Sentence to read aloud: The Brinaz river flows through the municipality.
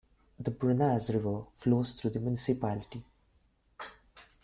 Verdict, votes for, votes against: rejected, 1, 2